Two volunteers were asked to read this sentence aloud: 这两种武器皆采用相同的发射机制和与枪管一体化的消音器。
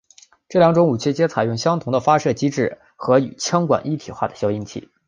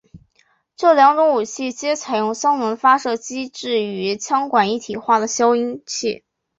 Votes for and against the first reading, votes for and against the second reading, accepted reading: 2, 0, 1, 2, first